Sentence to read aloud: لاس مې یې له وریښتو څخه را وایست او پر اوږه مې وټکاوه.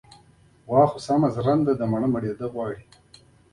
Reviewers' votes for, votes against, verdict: 0, 2, rejected